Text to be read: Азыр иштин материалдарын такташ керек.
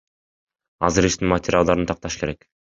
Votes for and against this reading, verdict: 2, 1, accepted